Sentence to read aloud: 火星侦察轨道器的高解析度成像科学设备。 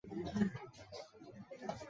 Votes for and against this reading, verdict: 1, 2, rejected